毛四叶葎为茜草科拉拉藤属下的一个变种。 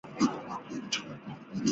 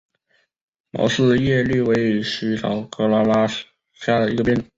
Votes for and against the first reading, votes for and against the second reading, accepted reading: 0, 4, 2, 0, second